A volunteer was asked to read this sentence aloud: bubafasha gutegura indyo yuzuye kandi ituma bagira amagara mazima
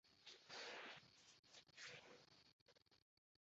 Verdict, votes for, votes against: rejected, 0, 2